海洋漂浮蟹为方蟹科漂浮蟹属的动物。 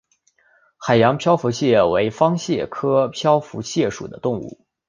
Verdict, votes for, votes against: accepted, 4, 0